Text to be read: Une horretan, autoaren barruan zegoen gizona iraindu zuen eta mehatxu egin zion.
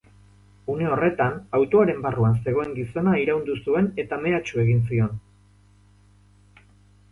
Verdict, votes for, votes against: accepted, 4, 0